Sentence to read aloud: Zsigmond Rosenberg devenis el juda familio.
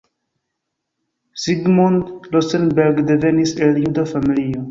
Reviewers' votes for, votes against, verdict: 0, 2, rejected